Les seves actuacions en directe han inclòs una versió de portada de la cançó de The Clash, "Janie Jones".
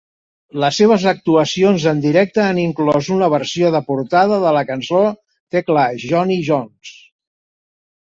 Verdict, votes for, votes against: rejected, 1, 3